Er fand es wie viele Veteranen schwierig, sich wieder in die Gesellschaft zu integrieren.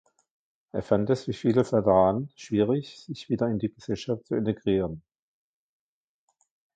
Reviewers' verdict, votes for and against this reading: accepted, 2, 1